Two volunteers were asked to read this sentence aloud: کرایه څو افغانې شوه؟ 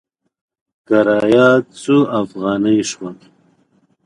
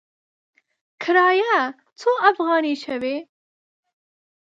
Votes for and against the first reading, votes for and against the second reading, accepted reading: 2, 0, 2, 3, first